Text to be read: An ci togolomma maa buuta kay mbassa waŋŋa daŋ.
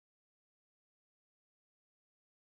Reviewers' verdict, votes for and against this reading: rejected, 0, 2